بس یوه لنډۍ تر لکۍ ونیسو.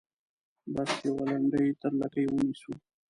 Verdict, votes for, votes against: rejected, 1, 2